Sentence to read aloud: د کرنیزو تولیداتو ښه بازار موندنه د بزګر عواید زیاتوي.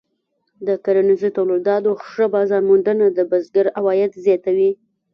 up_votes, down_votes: 0, 2